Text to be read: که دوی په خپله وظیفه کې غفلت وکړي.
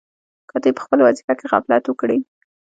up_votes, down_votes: 1, 2